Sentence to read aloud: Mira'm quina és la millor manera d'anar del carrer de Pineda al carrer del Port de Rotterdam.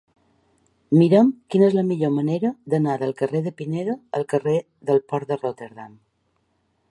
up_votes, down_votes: 3, 1